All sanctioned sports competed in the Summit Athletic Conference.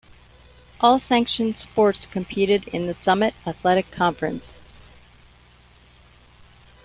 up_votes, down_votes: 2, 0